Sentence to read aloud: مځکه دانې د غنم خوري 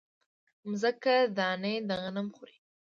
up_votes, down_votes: 1, 2